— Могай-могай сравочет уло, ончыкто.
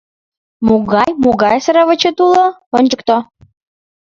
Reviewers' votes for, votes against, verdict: 2, 0, accepted